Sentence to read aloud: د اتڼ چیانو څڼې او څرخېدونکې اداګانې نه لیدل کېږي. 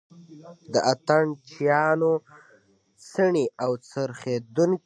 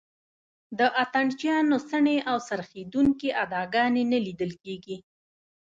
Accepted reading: second